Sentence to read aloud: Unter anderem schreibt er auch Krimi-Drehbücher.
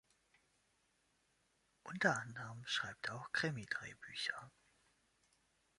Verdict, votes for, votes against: accepted, 2, 0